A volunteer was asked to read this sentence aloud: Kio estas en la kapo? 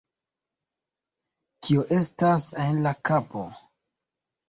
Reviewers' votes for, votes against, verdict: 2, 0, accepted